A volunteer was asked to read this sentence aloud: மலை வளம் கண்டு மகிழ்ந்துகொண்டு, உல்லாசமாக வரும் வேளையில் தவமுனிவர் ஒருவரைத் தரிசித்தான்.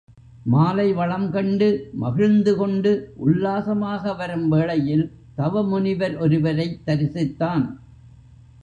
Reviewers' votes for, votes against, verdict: 1, 2, rejected